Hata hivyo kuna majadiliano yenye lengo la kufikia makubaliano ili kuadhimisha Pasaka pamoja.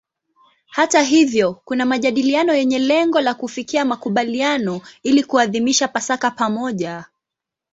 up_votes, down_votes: 2, 0